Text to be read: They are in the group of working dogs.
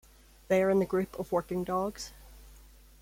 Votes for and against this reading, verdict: 1, 2, rejected